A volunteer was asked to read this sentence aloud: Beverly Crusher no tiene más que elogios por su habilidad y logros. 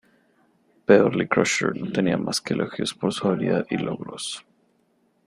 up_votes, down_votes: 0, 2